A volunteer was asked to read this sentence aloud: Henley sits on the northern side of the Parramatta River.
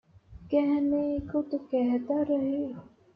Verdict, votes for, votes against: rejected, 0, 2